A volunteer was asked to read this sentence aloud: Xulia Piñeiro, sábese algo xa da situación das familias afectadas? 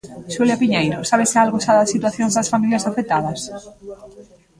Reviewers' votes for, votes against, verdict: 1, 2, rejected